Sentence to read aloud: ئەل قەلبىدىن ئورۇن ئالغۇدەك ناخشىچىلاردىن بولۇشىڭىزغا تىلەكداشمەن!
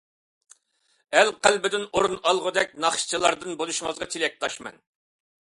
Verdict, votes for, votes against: accepted, 2, 0